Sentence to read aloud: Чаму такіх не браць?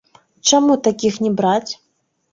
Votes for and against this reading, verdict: 1, 2, rejected